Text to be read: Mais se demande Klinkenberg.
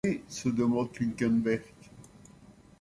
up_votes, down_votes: 0, 2